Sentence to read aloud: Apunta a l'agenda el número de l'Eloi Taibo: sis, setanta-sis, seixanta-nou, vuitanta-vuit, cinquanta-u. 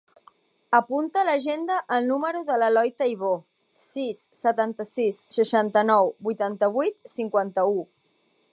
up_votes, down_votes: 1, 2